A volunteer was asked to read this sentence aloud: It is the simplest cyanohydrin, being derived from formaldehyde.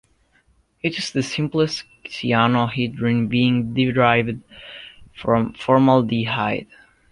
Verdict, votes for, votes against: accepted, 2, 0